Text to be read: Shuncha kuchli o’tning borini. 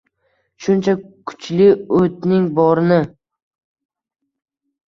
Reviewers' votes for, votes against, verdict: 2, 0, accepted